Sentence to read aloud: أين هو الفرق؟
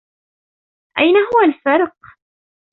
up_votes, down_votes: 2, 0